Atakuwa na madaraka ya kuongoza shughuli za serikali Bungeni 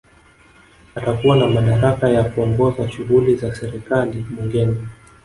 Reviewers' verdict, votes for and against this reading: rejected, 0, 2